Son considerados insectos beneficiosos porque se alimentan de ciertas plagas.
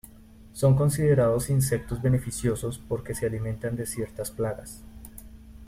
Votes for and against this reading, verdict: 2, 0, accepted